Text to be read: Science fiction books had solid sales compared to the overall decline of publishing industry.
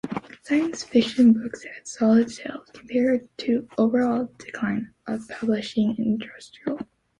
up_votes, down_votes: 2, 1